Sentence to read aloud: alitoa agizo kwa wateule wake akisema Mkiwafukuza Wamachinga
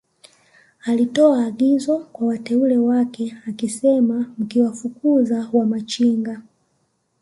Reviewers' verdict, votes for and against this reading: accepted, 2, 0